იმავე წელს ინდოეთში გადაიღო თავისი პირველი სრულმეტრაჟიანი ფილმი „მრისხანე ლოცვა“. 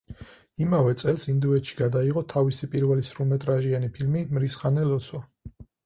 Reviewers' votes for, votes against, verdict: 4, 0, accepted